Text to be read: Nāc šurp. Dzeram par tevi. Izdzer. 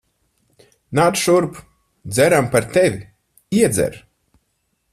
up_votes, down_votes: 0, 4